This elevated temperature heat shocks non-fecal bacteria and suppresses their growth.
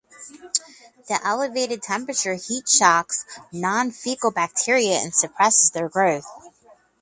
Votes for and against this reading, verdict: 4, 8, rejected